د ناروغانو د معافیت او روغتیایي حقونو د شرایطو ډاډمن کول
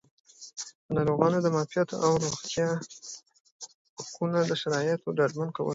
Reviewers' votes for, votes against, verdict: 2, 0, accepted